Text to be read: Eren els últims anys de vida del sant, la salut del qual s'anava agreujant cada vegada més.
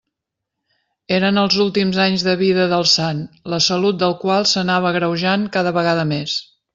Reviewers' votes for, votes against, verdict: 3, 0, accepted